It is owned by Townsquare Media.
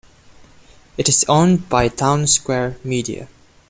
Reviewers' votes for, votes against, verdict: 2, 0, accepted